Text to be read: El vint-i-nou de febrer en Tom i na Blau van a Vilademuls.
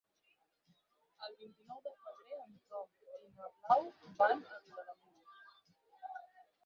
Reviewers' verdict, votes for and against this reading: rejected, 0, 4